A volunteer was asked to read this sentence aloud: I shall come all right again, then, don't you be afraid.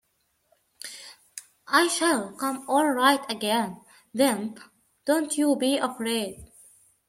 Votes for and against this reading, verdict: 2, 0, accepted